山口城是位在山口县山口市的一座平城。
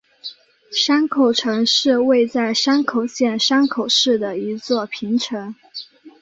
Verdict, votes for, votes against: accepted, 8, 0